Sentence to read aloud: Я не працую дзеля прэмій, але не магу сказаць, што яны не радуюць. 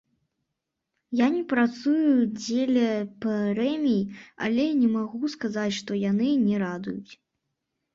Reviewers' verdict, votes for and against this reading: rejected, 1, 2